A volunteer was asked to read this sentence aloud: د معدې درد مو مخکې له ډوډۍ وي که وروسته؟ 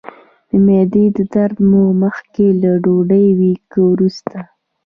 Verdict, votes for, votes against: accepted, 2, 0